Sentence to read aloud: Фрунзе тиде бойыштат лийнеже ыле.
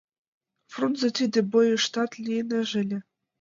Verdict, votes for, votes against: accepted, 2, 0